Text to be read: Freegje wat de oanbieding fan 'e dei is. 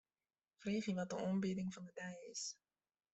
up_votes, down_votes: 0, 2